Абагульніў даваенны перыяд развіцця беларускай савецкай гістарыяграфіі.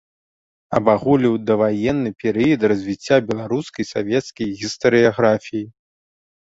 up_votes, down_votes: 0, 2